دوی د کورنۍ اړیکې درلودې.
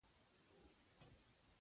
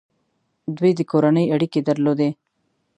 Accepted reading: second